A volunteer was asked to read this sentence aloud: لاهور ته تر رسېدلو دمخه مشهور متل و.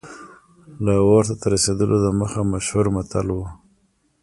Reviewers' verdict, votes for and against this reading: rejected, 1, 2